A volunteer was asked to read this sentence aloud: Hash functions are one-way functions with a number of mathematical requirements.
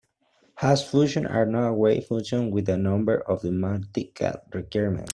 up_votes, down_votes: 0, 2